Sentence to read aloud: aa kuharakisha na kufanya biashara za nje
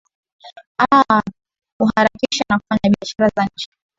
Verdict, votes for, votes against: rejected, 0, 2